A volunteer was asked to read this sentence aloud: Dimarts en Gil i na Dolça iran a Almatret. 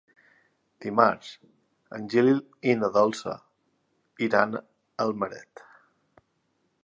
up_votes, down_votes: 1, 2